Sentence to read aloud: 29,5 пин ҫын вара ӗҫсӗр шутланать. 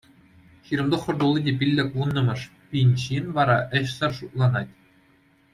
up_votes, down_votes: 0, 2